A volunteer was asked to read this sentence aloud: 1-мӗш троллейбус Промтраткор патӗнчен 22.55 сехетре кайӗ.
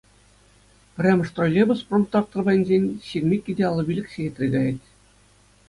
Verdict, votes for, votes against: rejected, 0, 2